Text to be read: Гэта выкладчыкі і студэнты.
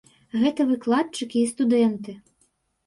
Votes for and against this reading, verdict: 2, 0, accepted